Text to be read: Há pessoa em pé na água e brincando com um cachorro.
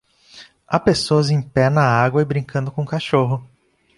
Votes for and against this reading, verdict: 0, 2, rejected